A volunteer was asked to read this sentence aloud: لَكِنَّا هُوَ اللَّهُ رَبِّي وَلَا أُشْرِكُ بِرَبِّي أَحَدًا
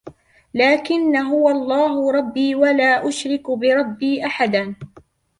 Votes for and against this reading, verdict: 1, 2, rejected